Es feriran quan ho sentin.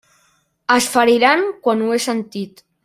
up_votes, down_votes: 0, 2